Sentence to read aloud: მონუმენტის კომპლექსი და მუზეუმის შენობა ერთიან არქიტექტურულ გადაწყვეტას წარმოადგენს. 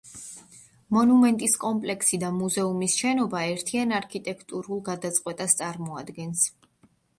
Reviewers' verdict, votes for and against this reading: accepted, 2, 0